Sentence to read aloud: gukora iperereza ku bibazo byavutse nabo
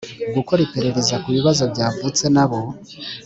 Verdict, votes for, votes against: accepted, 3, 0